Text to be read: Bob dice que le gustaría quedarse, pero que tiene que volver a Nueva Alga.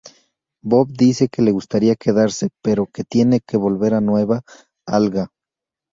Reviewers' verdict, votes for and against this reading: accepted, 2, 0